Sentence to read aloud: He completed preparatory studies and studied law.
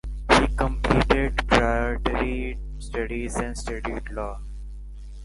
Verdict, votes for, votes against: rejected, 0, 2